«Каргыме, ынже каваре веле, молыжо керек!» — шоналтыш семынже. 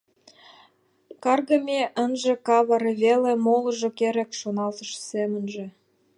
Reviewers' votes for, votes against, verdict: 0, 2, rejected